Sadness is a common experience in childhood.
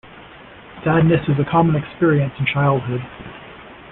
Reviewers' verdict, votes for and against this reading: accepted, 2, 0